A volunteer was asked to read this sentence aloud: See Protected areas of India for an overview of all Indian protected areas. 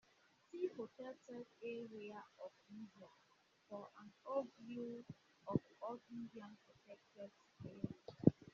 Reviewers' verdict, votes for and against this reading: rejected, 0, 2